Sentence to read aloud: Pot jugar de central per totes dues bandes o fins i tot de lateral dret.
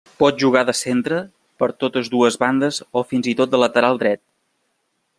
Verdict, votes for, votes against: rejected, 1, 2